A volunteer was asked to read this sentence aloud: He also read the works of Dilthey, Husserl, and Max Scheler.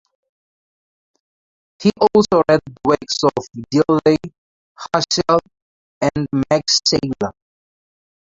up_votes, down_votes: 2, 0